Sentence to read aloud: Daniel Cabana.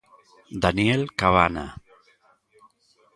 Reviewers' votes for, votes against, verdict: 2, 0, accepted